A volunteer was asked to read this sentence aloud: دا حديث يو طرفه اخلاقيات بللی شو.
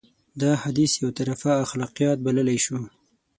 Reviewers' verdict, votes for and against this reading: accepted, 6, 0